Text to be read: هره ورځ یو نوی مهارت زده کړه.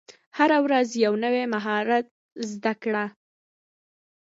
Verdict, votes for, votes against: rejected, 0, 2